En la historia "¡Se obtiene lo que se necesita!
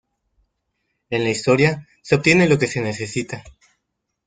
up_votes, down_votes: 1, 2